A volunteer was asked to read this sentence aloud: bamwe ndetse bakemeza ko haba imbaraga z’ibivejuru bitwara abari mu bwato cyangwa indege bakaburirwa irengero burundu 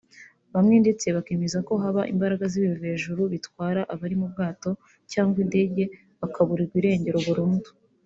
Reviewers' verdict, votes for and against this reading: accepted, 2, 1